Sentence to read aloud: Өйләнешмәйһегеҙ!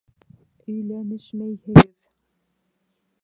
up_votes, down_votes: 0, 2